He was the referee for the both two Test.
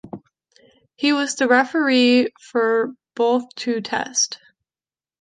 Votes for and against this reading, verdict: 0, 2, rejected